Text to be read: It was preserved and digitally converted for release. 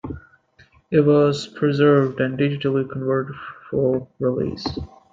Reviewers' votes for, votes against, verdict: 2, 0, accepted